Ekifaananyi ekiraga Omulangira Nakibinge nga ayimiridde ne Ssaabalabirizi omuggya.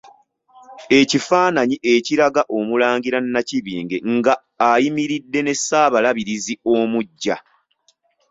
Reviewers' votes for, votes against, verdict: 2, 0, accepted